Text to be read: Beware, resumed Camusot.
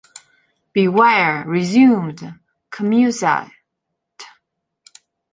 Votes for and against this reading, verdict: 1, 3, rejected